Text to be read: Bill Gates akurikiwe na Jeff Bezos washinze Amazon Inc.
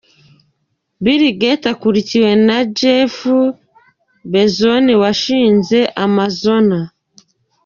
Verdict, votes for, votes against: rejected, 1, 2